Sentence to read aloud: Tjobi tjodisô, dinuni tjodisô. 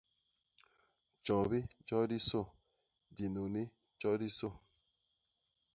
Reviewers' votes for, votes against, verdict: 2, 0, accepted